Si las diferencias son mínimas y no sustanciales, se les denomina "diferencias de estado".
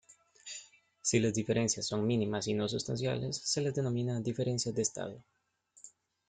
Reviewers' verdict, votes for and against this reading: accepted, 2, 0